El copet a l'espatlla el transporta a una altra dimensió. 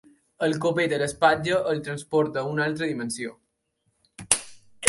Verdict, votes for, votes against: accepted, 2, 0